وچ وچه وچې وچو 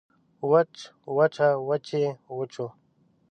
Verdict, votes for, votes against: accepted, 2, 0